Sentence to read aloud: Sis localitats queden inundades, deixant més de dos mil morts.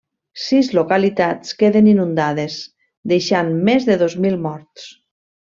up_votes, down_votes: 3, 0